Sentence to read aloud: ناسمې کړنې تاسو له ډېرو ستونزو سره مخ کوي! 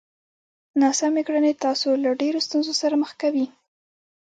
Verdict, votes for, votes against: accepted, 2, 0